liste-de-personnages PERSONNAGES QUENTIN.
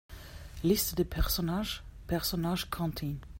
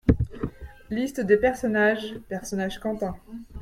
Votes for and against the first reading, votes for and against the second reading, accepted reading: 0, 2, 2, 1, second